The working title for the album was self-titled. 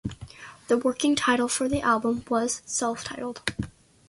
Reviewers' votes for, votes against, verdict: 2, 0, accepted